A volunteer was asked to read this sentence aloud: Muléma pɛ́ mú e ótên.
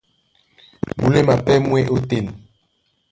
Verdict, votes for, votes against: rejected, 1, 2